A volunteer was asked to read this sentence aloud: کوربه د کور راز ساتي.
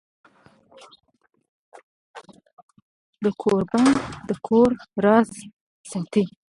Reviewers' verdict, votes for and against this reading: rejected, 1, 2